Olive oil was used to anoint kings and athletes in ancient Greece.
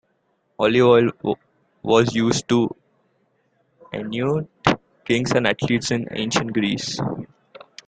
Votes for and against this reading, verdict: 0, 2, rejected